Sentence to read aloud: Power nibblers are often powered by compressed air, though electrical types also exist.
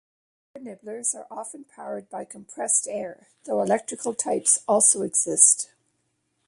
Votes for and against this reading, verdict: 0, 2, rejected